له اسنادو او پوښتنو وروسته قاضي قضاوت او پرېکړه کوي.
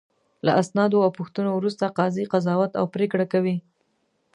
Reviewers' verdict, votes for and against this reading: accepted, 2, 0